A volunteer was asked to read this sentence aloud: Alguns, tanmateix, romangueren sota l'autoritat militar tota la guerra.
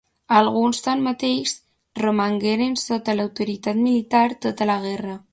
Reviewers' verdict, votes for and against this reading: accepted, 2, 0